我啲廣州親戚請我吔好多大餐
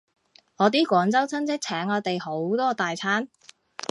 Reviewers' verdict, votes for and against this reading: rejected, 0, 2